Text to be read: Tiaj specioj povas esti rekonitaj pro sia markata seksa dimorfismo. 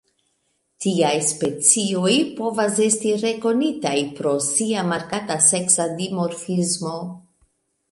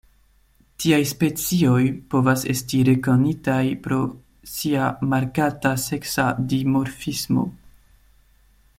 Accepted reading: second